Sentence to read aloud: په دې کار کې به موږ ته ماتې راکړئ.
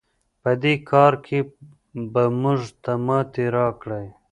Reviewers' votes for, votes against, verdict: 1, 2, rejected